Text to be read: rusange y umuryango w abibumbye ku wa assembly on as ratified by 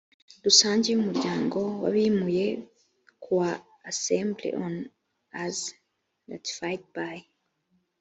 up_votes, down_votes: 1, 2